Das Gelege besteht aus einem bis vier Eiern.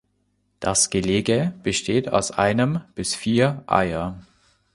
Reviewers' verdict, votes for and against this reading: rejected, 0, 2